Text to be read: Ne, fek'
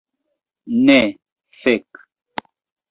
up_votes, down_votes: 2, 0